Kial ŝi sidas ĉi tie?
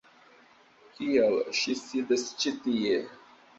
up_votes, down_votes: 2, 0